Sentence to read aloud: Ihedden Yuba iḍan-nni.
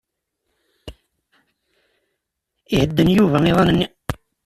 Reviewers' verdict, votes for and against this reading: accepted, 2, 0